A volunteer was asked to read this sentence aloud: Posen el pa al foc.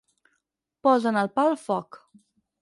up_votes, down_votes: 4, 0